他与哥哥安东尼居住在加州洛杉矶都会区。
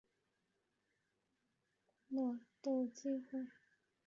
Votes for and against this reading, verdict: 0, 2, rejected